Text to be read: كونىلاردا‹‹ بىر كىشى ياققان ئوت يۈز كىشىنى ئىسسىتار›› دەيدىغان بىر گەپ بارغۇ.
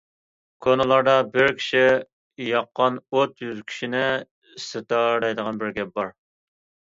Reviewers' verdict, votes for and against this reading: rejected, 0, 2